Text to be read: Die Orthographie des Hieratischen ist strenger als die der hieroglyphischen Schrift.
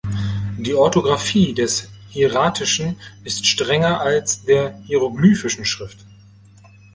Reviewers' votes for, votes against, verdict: 0, 2, rejected